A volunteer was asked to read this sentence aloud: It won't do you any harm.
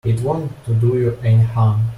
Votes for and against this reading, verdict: 1, 2, rejected